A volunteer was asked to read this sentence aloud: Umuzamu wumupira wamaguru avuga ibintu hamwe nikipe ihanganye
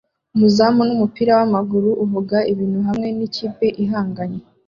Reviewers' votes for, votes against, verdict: 0, 2, rejected